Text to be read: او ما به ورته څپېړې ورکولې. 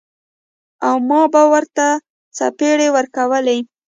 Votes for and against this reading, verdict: 1, 2, rejected